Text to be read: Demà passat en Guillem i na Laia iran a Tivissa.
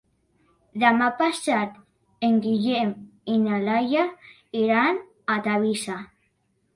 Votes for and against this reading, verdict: 0, 2, rejected